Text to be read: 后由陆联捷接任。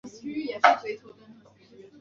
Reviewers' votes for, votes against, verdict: 1, 4, rejected